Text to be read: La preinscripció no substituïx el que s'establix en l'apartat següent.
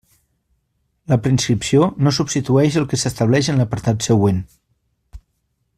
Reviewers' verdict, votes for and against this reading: rejected, 1, 2